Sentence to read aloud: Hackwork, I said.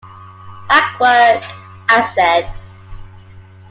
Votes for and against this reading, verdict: 2, 0, accepted